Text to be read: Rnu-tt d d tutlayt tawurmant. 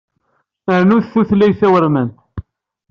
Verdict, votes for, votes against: rejected, 1, 2